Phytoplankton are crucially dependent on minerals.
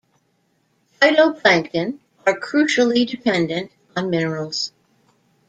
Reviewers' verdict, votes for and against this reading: accepted, 2, 1